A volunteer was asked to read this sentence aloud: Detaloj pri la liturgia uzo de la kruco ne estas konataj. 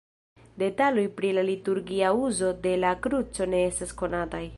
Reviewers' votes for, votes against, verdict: 1, 2, rejected